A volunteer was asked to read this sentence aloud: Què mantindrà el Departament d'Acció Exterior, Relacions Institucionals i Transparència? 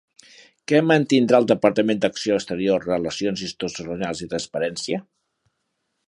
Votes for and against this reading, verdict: 0, 3, rejected